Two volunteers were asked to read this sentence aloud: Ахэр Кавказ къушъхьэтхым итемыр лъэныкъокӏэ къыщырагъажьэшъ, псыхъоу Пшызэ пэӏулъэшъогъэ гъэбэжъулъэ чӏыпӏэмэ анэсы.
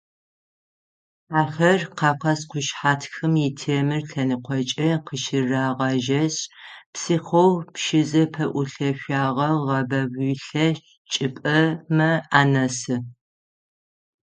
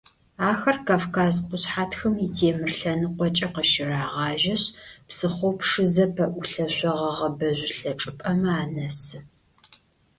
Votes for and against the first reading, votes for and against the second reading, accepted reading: 3, 6, 2, 0, second